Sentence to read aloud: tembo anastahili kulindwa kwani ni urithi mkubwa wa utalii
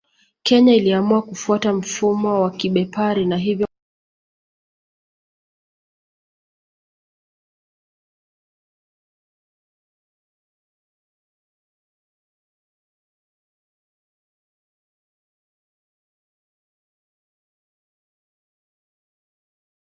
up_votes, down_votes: 0, 2